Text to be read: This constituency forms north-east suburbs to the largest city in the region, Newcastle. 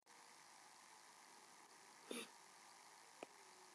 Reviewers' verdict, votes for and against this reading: rejected, 0, 2